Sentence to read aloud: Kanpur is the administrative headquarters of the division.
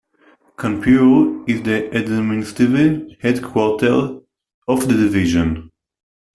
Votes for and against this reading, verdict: 0, 2, rejected